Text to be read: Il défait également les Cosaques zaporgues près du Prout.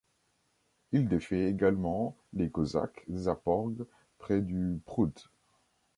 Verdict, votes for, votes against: accepted, 2, 0